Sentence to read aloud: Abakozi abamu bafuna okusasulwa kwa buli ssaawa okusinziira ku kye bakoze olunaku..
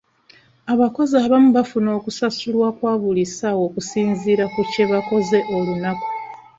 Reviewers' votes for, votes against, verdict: 1, 2, rejected